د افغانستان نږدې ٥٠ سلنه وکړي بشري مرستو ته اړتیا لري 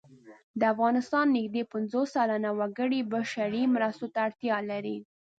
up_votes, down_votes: 0, 2